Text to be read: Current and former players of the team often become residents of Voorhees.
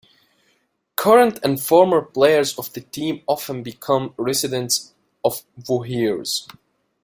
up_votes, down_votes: 1, 2